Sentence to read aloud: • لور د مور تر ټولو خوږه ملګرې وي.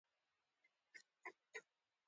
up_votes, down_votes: 2, 1